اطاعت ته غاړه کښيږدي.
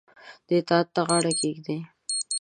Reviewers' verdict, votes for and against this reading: rejected, 1, 2